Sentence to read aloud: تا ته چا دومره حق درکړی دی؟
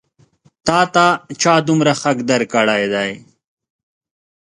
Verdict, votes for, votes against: accepted, 2, 0